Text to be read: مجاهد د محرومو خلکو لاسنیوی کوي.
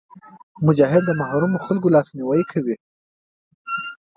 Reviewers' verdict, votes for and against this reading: rejected, 0, 2